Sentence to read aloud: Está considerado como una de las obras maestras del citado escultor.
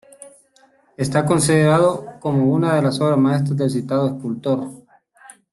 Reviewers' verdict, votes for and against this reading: accepted, 2, 1